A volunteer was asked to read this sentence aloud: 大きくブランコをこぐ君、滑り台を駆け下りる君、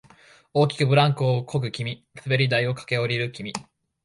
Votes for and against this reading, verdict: 2, 0, accepted